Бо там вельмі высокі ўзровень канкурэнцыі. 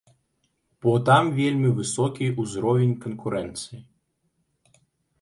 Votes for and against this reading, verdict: 2, 1, accepted